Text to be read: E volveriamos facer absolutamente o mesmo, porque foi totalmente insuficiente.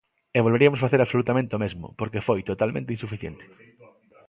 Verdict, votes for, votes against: rejected, 0, 2